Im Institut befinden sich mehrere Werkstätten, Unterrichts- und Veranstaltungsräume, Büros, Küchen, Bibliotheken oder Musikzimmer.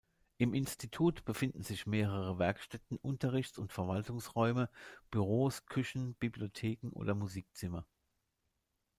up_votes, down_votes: 0, 2